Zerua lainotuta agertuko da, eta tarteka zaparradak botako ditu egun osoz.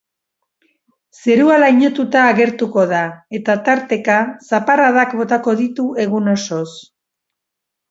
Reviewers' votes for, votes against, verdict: 4, 0, accepted